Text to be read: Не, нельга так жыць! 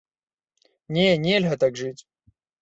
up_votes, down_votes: 2, 0